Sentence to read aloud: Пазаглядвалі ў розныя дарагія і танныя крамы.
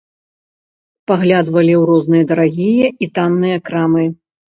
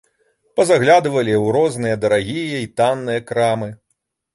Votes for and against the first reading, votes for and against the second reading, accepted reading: 1, 2, 2, 0, second